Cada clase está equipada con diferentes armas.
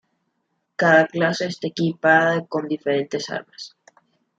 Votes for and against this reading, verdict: 2, 0, accepted